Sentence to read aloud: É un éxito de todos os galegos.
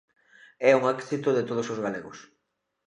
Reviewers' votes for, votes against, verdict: 2, 0, accepted